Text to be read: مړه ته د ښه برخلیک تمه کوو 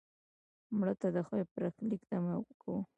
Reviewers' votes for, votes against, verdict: 1, 2, rejected